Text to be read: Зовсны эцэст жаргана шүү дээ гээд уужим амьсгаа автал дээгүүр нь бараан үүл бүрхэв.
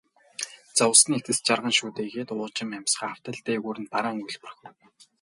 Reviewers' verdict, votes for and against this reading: rejected, 0, 2